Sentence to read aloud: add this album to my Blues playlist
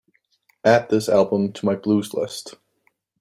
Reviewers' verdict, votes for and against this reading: rejected, 1, 2